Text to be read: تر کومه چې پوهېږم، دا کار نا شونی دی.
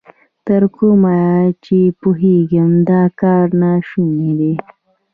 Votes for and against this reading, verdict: 2, 1, accepted